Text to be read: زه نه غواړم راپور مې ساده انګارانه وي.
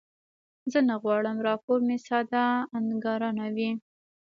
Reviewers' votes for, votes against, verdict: 2, 0, accepted